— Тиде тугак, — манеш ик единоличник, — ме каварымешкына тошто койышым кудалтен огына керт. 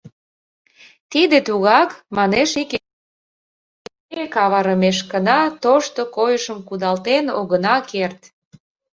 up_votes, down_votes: 0, 2